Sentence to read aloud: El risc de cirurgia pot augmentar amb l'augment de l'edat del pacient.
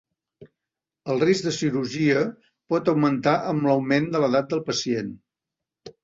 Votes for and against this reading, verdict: 2, 0, accepted